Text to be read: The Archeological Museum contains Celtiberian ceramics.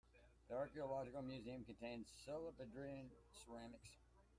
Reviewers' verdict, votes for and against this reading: rejected, 1, 2